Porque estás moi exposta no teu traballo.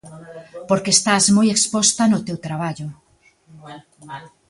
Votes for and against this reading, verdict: 0, 2, rejected